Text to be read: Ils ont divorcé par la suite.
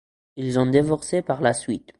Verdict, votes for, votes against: accepted, 2, 0